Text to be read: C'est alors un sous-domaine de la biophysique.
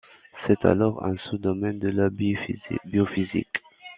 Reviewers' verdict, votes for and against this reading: rejected, 0, 2